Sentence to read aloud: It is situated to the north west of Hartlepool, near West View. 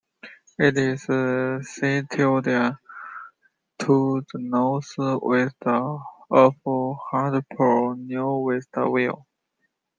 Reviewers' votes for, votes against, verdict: 0, 2, rejected